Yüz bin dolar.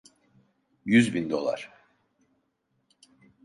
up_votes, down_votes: 2, 0